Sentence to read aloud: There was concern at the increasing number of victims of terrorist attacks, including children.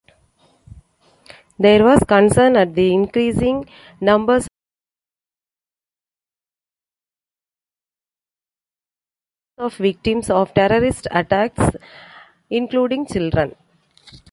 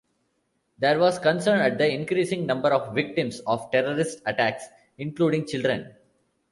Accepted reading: second